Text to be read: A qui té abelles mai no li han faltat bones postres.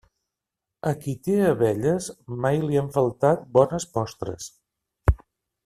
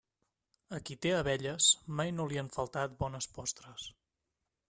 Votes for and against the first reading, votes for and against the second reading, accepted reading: 1, 2, 3, 0, second